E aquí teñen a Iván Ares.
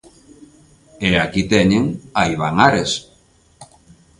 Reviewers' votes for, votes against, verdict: 3, 0, accepted